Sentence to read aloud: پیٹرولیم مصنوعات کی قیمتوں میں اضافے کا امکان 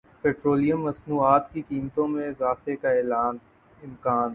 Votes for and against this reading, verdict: 2, 2, rejected